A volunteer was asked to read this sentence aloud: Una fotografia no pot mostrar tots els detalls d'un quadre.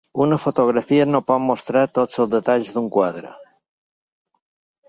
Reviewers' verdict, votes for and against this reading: accepted, 3, 0